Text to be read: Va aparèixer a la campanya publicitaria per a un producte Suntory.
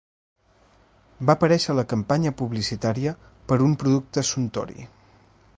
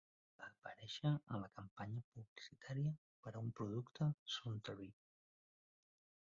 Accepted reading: first